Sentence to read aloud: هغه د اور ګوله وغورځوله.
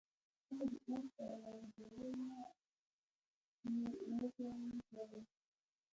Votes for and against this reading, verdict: 0, 2, rejected